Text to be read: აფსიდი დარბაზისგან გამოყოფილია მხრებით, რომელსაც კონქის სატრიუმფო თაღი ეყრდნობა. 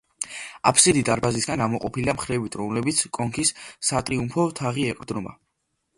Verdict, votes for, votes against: accepted, 2, 0